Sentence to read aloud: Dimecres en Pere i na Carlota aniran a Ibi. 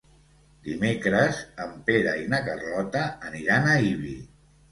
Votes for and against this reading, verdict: 2, 0, accepted